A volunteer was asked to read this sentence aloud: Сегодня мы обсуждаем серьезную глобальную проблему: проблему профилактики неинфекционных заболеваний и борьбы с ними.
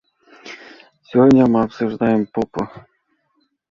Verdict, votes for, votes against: rejected, 0, 2